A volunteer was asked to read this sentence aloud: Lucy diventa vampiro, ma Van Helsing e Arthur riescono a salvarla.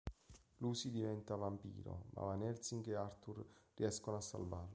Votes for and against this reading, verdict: 1, 2, rejected